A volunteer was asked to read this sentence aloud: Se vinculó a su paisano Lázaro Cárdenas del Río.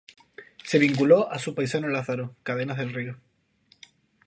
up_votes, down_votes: 2, 0